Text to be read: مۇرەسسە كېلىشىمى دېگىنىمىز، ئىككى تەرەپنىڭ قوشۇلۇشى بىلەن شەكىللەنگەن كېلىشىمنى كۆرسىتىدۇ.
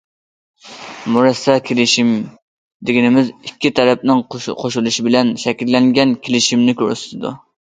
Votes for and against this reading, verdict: 0, 2, rejected